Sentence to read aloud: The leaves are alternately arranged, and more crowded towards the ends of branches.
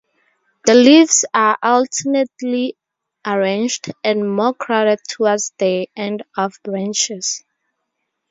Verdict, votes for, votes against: rejected, 0, 2